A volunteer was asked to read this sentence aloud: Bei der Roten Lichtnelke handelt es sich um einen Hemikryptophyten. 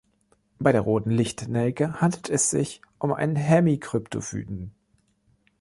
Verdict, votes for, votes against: accepted, 3, 1